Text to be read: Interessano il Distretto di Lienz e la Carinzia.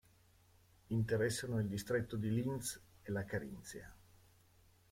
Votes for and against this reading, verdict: 0, 2, rejected